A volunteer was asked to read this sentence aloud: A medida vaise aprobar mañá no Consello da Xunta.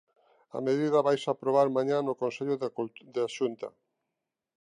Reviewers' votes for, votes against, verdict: 1, 2, rejected